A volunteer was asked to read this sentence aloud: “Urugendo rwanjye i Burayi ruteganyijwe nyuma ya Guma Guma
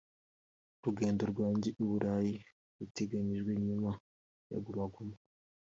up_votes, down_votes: 2, 1